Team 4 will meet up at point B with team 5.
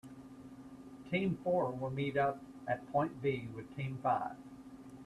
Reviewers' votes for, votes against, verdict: 0, 2, rejected